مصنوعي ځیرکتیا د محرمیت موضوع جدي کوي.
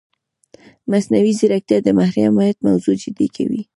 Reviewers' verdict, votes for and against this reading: rejected, 1, 2